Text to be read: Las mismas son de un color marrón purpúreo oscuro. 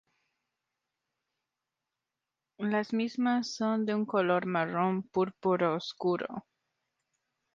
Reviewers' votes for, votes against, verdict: 0, 2, rejected